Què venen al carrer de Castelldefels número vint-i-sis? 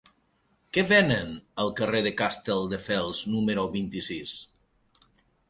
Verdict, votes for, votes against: rejected, 1, 2